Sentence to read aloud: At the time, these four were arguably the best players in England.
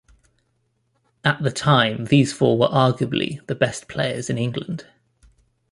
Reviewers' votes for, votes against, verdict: 2, 0, accepted